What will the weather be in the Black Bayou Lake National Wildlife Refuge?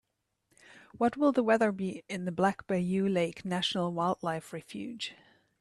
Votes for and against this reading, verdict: 2, 0, accepted